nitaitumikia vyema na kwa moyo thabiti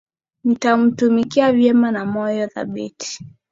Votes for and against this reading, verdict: 2, 0, accepted